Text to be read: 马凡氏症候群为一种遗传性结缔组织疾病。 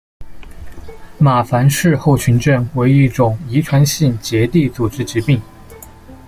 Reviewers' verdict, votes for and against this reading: rejected, 0, 2